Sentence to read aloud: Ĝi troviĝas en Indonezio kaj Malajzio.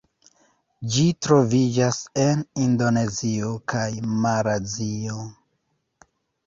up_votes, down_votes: 0, 2